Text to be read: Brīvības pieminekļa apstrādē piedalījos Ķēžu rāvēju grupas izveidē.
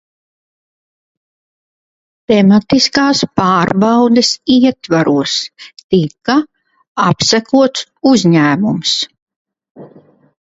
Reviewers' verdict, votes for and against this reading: rejected, 0, 2